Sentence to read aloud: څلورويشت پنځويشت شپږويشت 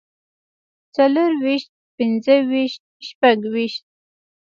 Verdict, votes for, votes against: rejected, 0, 2